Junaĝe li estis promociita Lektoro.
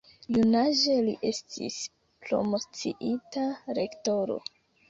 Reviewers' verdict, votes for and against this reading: rejected, 1, 2